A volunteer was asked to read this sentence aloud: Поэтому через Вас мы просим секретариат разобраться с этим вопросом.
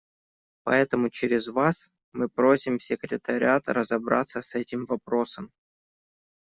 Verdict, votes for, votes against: accepted, 2, 0